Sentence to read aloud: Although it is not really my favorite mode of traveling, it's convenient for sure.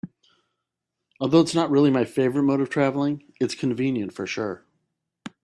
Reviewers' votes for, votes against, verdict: 2, 0, accepted